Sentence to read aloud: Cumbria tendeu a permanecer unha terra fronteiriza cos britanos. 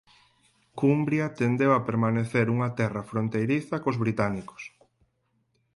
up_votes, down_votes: 2, 4